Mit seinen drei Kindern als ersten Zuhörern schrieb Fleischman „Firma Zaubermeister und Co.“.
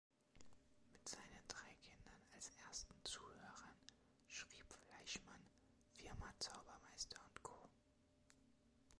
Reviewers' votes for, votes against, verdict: 2, 1, accepted